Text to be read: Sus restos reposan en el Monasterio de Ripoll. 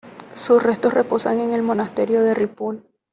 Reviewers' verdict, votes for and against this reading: accepted, 2, 0